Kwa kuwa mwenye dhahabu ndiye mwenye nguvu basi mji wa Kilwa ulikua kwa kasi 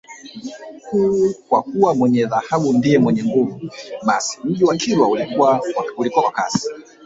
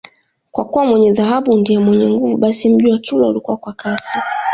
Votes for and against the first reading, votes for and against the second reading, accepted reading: 1, 2, 2, 0, second